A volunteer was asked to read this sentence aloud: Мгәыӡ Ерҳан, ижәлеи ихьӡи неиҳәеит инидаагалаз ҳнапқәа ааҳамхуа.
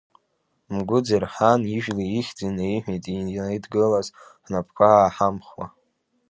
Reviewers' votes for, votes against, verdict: 0, 2, rejected